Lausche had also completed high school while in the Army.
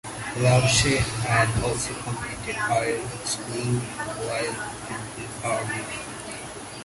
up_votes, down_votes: 0, 2